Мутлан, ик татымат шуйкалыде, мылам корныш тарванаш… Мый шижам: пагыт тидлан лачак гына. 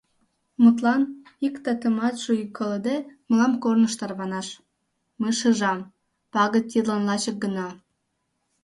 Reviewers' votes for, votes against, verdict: 1, 2, rejected